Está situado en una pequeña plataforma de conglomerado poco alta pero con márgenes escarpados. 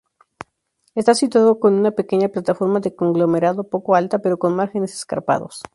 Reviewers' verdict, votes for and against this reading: rejected, 0, 2